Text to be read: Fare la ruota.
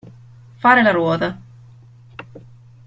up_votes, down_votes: 2, 0